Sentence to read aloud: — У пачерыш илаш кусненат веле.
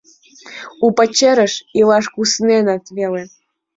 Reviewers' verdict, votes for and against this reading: rejected, 0, 2